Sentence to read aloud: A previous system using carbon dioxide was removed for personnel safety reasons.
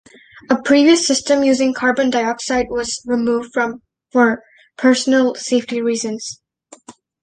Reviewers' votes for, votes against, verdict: 0, 2, rejected